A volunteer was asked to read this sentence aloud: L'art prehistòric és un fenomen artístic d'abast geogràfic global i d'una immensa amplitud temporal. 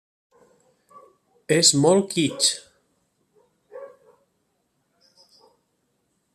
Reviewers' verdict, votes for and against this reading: rejected, 0, 2